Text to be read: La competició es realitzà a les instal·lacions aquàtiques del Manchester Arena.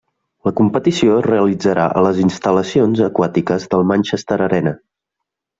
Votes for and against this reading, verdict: 0, 2, rejected